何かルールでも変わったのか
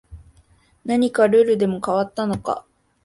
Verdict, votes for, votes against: accepted, 2, 0